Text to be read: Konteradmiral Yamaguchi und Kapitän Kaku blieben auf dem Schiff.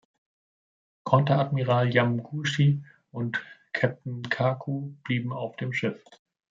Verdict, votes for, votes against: rejected, 1, 2